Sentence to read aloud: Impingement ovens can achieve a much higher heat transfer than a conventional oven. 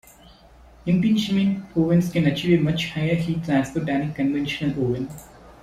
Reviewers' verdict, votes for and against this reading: accepted, 2, 0